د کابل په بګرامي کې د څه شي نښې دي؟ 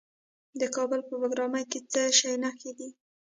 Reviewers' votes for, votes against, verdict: 1, 2, rejected